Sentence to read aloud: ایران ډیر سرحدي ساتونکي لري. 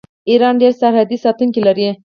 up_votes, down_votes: 4, 0